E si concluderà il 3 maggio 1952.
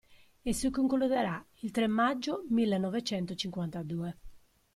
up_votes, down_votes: 0, 2